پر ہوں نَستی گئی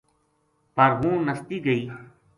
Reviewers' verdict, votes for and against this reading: accepted, 2, 0